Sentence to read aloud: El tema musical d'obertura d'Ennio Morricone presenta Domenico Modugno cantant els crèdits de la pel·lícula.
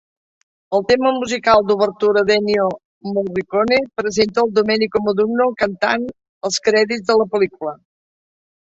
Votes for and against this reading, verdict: 0, 2, rejected